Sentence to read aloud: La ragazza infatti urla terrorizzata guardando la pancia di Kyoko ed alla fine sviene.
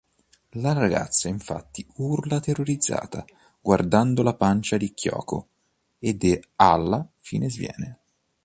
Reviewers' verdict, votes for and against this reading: rejected, 0, 2